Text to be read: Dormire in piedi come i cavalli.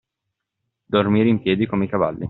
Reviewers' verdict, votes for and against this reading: accepted, 2, 0